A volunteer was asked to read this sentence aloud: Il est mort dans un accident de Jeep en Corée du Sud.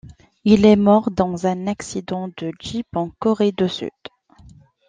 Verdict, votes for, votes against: rejected, 0, 2